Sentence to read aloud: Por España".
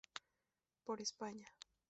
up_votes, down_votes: 2, 0